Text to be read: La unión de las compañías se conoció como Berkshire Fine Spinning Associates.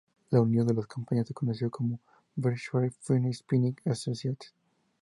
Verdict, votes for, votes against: accepted, 2, 0